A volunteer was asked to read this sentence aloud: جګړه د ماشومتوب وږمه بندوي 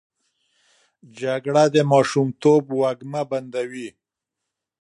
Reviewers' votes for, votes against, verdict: 2, 0, accepted